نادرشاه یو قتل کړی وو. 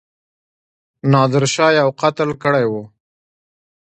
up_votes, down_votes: 2, 1